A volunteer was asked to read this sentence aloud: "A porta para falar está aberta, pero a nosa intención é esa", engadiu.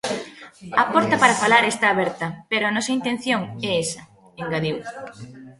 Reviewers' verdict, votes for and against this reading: rejected, 0, 2